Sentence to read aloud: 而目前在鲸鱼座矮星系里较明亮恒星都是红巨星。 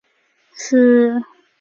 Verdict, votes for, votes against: rejected, 1, 5